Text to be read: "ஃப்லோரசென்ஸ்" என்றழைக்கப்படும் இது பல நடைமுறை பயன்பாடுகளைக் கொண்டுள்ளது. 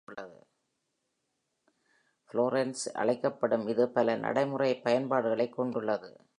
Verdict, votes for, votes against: rejected, 2, 3